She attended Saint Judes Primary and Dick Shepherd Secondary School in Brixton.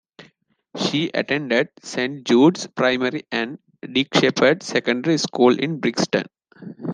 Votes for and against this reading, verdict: 2, 0, accepted